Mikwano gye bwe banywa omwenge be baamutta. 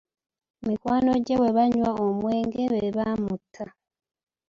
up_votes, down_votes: 1, 2